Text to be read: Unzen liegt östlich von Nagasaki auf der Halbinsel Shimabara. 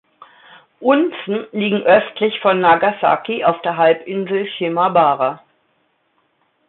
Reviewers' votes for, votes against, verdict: 0, 2, rejected